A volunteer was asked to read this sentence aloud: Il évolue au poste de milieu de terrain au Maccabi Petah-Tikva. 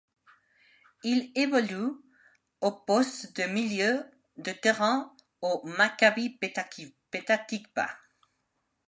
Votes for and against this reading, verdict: 0, 2, rejected